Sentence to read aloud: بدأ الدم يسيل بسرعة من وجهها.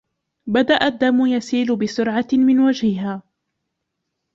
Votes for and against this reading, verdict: 1, 2, rejected